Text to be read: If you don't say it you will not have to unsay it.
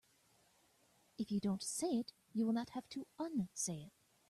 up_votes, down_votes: 2, 0